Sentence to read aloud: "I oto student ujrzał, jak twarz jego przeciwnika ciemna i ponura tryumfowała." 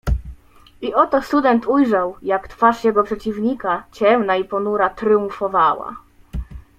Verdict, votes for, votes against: accepted, 2, 0